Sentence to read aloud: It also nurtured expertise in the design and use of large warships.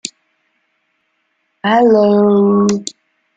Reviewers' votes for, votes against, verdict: 0, 2, rejected